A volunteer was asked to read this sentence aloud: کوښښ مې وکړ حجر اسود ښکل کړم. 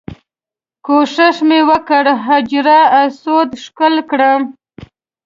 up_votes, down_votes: 0, 2